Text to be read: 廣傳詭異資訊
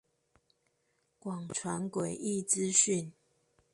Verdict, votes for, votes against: accepted, 2, 0